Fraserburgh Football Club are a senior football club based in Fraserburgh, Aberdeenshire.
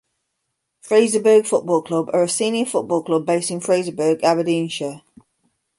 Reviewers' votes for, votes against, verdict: 2, 0, accepted